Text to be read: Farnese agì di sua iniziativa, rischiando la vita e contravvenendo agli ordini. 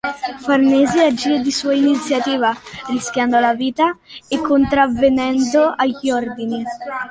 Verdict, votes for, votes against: accepted, 2, 1